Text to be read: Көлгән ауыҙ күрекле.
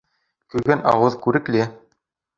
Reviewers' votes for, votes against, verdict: 2, 0, accepted